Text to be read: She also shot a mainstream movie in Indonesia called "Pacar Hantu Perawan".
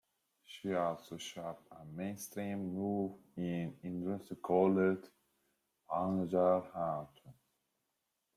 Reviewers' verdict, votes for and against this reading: rejected, 0, 3